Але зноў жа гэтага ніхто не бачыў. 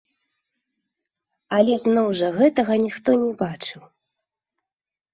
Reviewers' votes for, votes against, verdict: 0, 3, rejected